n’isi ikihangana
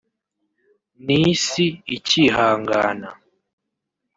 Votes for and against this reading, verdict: 1, 2, rejected